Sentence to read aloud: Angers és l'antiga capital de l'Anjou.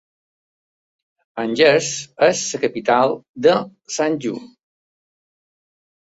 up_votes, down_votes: 0, 2